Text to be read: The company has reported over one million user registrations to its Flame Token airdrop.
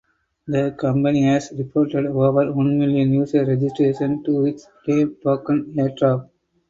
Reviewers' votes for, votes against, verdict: 4, 0, accepted